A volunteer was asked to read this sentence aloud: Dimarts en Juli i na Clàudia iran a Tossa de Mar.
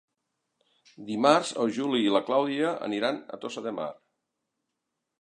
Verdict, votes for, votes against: rejected, 0, 2